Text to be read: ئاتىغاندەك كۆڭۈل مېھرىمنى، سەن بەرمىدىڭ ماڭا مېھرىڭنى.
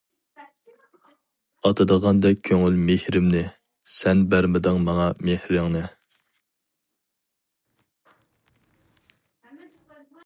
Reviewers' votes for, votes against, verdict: 2, 2, rejected